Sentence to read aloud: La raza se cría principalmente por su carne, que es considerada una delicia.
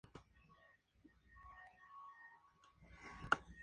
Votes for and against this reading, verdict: 0, 2, rejected